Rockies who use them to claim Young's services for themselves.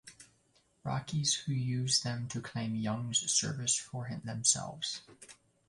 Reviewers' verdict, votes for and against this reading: rejected, 0, 2